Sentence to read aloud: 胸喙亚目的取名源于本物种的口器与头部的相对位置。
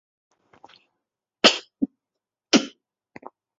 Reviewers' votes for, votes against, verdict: 0, 2, rejected